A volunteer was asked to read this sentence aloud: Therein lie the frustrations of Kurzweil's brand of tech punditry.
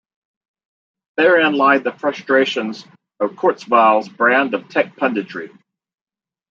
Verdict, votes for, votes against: accepted, 2, 0